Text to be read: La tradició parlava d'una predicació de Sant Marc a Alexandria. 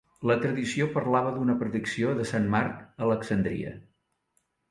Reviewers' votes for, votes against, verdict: 1, 2, rejected